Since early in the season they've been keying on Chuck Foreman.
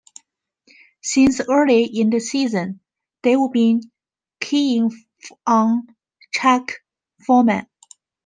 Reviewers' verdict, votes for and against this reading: rejected, 1, 2